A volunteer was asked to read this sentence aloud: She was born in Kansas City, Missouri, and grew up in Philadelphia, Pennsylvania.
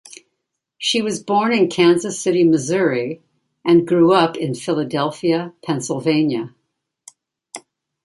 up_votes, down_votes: 2, 0